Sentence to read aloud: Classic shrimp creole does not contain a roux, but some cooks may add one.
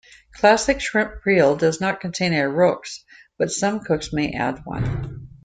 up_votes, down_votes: 2, 1